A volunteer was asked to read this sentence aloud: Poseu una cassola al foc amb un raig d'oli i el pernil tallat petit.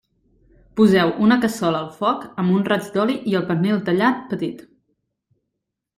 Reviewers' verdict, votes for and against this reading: accepted, 2, 0